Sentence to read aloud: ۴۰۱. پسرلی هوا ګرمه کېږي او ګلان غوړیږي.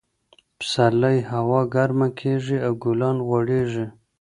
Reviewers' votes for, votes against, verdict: 0, 2, rejected